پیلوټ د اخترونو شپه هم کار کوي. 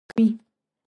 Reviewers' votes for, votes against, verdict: 0, 2, rejected